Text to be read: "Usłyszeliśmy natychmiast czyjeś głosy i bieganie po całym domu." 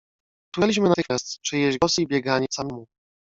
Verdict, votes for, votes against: rejected, 0, 2